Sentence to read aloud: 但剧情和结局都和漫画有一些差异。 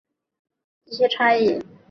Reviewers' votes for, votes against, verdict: 0, 6, rejected